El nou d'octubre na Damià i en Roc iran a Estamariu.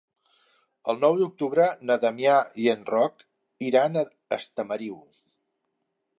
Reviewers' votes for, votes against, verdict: 1, 2, rejected